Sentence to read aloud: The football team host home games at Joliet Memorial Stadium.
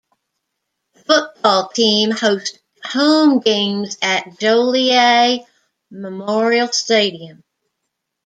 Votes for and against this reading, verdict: 1, 2, rejected